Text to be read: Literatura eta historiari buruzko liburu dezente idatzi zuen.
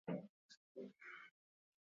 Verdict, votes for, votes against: rejected, 0, 4